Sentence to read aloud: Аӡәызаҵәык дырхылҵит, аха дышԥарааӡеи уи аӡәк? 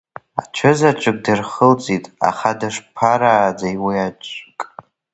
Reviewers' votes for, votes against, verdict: 2, 0, accepted